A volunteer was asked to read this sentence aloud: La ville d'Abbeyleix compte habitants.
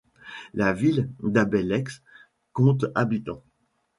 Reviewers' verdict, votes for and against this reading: accepted, 2, 0